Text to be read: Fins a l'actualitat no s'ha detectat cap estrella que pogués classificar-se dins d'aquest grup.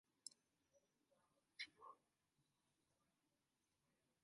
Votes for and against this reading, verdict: 1, 2, rejected